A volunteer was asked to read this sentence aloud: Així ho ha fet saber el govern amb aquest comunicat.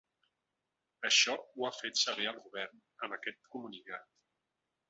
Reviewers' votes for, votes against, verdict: 0, 2, rejected